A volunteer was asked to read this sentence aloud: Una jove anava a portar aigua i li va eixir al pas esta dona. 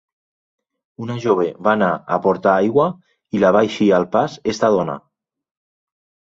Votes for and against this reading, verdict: 0, 2, rejected